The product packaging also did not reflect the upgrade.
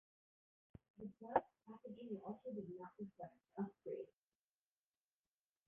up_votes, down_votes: 0, 2